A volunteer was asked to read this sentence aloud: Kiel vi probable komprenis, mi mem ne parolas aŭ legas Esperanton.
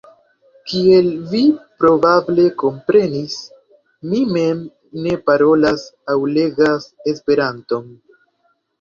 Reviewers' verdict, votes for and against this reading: rejected, 1, 2